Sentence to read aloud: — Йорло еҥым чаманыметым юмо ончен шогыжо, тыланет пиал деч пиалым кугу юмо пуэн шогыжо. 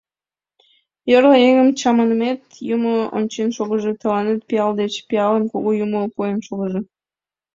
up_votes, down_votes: 1, 2